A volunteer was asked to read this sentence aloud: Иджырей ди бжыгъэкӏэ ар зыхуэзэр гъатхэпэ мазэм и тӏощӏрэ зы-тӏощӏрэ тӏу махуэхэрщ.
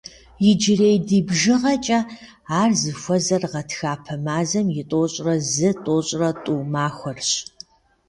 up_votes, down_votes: 1, 2